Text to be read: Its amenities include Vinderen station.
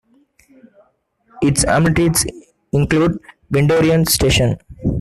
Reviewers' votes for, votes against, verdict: 0, 3, rejected